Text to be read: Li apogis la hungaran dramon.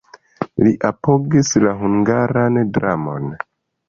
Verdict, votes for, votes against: accepted, 2, 0